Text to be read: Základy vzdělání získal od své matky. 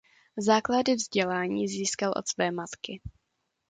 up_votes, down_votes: 2, 0